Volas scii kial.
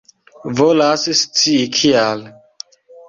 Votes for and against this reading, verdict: 2, 0, accepted